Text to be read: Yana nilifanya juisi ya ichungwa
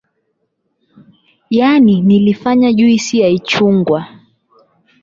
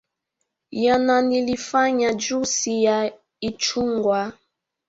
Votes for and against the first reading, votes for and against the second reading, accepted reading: 8, 0, 0, 2, first